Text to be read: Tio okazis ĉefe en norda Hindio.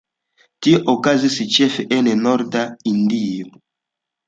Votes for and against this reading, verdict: 2, 0, accepted